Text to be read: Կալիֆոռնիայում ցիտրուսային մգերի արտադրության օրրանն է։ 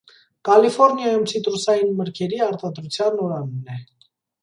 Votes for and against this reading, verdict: 1, 2, rejected